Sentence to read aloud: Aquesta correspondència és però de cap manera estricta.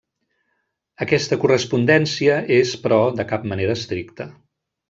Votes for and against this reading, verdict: 0, 2, rejected